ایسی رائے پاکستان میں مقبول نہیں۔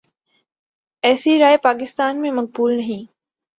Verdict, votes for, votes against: accepted, 14, 0